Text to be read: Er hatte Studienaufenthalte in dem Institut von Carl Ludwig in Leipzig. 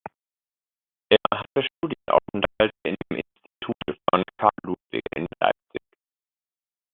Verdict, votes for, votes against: rejected, 0, 2